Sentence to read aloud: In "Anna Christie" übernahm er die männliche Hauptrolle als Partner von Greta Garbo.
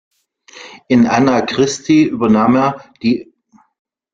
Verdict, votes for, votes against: rejected, 0, 2